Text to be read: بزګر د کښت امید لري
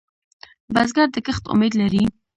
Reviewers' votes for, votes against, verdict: 1, 2, rejected